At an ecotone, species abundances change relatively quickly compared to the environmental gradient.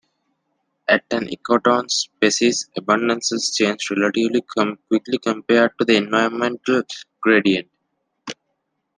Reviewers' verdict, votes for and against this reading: rejected, 1, 2